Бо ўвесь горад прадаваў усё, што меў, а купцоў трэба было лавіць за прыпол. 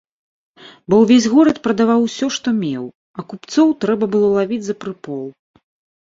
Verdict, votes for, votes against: accepted, 2, 0